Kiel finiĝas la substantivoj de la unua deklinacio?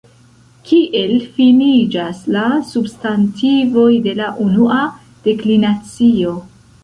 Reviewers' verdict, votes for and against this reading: accepted, 2, 1